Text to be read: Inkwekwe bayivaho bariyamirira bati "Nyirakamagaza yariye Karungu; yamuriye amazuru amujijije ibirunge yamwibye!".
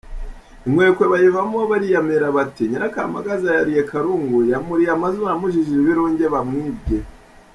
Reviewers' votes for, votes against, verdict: 2, 0, accepted